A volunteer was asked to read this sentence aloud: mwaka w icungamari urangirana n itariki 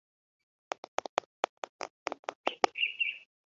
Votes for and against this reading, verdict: 0, 3, rejected